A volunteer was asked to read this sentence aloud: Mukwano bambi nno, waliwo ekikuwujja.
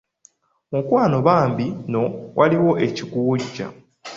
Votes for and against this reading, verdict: 2, 1, accepted